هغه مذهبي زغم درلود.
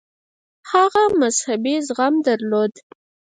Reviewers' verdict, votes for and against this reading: rejected, 2, 4